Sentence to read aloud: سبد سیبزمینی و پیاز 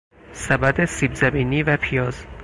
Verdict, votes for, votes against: accepted, 4, 0